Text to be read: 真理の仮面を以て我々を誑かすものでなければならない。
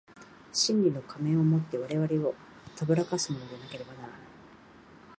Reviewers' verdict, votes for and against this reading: accepted, 2, 0